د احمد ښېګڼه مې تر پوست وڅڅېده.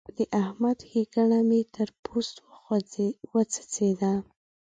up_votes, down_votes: 3, 2